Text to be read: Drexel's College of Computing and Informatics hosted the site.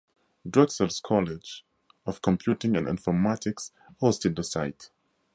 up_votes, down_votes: 4, 0